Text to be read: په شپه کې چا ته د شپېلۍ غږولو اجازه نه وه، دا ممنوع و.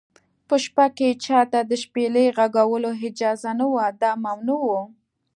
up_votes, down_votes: 1, 2